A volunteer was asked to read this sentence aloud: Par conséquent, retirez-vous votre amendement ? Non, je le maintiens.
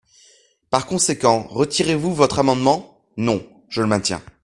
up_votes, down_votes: 2, 0